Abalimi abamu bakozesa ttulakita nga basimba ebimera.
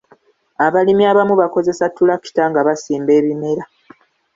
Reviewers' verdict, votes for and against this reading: rejected, 1, 2